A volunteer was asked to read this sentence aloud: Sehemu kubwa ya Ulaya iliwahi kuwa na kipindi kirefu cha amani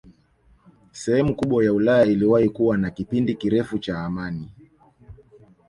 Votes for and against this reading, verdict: 3, 0, accepted